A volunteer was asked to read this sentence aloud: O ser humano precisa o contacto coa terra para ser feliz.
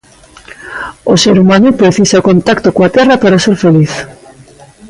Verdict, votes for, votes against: rejected, 0, 2